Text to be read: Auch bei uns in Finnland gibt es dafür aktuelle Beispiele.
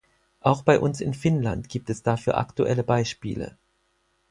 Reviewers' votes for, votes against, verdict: 4, 0, accepted